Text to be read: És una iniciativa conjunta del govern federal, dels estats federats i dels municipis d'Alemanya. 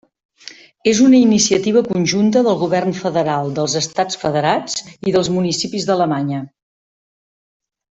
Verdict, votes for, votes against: accepted, 3, 0